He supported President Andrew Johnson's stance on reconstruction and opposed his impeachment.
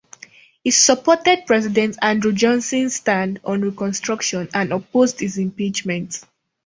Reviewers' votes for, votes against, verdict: 2, 0, accepted